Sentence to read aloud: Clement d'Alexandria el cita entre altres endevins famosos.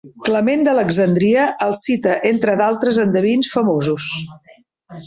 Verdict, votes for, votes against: rejected, 1, 2